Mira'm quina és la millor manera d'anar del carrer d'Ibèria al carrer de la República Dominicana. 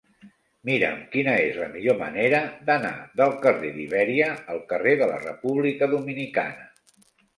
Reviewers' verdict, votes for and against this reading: accepted, 2, 1